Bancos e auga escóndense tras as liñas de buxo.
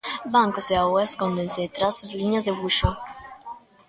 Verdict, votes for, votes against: rejected, 0, 2